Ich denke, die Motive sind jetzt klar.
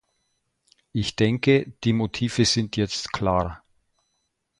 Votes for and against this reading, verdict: 2, 0, accepted